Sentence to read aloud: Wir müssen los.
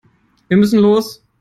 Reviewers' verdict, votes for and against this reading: accepted, 2, 0